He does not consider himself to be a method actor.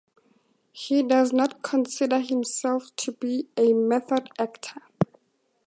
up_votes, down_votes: 2, 0